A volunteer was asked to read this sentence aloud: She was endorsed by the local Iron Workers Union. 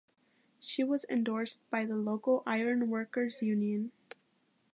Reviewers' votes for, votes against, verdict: 2, 0, accepted